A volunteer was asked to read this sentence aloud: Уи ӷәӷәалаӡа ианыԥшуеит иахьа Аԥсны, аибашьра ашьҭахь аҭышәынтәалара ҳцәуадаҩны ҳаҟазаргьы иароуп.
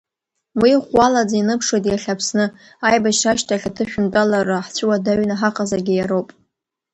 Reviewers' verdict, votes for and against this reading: rejected, 1, 2